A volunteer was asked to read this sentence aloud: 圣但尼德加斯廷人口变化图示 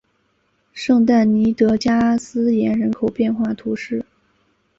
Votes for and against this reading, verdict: 0, 2, rejected